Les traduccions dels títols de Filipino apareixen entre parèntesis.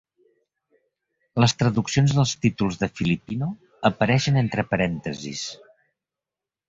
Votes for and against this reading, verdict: 2, 0, accepted